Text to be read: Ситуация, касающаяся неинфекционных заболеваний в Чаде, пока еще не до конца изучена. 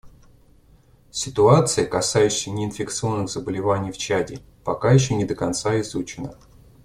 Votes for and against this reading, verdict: 2, 0, accepted